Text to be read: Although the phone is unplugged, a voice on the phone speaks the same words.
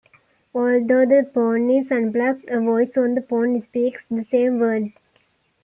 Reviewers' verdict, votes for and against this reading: accepted, 2, 1